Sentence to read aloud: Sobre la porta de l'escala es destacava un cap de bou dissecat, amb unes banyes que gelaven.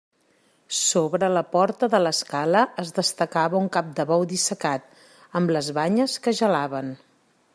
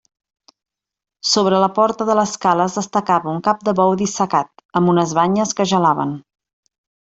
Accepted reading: second